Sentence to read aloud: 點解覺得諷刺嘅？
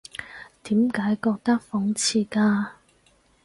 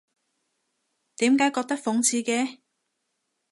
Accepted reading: second